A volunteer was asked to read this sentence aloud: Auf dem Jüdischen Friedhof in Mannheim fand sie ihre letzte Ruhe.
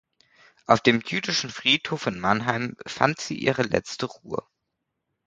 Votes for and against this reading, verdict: 2, 0, accepted